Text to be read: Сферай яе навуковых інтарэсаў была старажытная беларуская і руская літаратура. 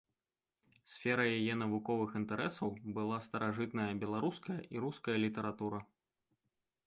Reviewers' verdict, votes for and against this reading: rejected, 0, 2